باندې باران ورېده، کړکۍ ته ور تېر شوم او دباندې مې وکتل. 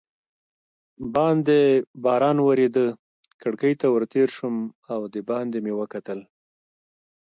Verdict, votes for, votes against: accepted, 2, 0